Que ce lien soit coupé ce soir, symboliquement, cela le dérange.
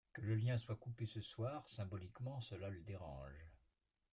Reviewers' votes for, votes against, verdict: 1, 2, rejected